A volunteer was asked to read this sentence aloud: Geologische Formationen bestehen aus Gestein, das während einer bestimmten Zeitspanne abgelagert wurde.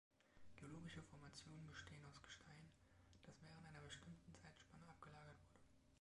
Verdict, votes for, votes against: rejected, 1, 2